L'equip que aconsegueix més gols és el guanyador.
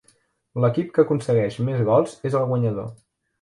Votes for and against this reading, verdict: 3, 0, accepted